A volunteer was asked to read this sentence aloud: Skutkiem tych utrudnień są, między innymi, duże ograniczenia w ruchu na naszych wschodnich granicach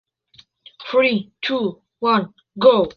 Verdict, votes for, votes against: rejected, 0, 2